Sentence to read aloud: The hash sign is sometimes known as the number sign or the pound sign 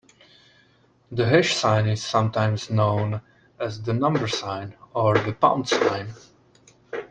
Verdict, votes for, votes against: accepted, 2, 0